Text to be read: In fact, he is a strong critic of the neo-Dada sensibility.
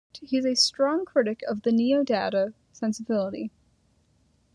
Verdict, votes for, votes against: rejected, 0, 2